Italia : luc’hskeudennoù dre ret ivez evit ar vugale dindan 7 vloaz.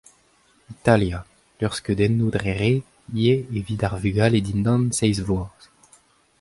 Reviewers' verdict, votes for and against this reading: rejected, 0, 2